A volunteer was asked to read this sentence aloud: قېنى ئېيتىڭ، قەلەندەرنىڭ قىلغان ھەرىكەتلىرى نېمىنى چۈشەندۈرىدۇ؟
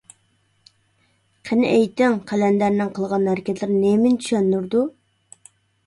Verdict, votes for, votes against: accepted, 2, 0